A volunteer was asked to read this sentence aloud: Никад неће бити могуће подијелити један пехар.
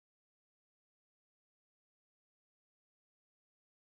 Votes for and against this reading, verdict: 0, 2, rejected